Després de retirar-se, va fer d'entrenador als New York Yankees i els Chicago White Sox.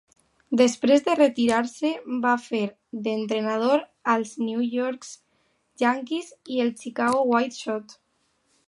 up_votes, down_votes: 1, 2